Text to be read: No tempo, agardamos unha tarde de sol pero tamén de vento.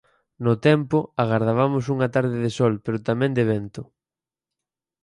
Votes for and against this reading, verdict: 2, 4, rejected